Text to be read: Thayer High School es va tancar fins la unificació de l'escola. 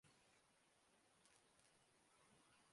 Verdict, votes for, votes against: rejected, 0, 2